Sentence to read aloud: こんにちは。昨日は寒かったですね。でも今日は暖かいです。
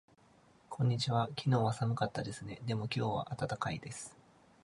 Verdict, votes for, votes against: accepted, 2, 0